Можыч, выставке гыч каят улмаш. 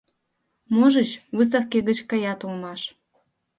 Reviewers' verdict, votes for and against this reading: accepted, 2, 0